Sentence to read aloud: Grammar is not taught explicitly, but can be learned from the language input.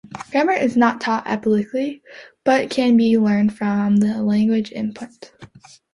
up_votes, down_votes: 0, 3